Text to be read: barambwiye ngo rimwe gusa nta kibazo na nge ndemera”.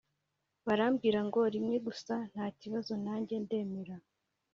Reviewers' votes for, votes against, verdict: 0, 2, rejected